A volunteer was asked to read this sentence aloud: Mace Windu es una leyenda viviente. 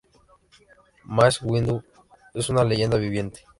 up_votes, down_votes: 0, 2